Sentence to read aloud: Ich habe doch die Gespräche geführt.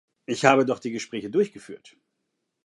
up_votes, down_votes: 0, 2